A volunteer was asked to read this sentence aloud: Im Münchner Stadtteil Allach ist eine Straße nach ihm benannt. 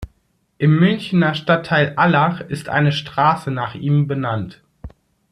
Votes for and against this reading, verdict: 2, 1, accepted